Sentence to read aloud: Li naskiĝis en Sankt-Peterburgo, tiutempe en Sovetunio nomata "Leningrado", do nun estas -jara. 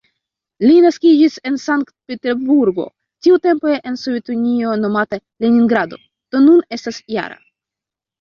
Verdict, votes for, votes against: rejected, 0, 2